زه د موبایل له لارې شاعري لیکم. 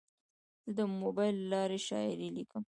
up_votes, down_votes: 3, 0